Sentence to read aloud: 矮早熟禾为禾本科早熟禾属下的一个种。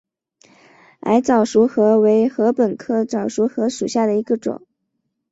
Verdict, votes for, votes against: accepted, 9, 0